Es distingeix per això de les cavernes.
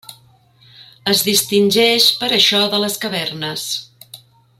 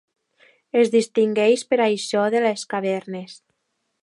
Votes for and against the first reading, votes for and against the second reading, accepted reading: 3, 0, 0, 2, first